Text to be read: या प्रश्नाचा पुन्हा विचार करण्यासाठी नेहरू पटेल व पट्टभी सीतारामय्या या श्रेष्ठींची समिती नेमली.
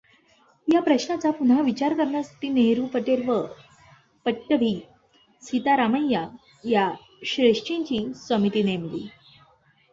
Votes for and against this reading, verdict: 2, 1, accepted